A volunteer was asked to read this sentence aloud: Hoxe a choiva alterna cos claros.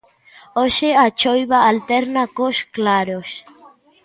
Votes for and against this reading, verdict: 2, 0, accepted